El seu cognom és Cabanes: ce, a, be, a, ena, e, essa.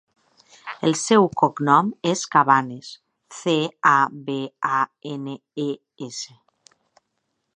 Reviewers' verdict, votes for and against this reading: accepted, 5, 2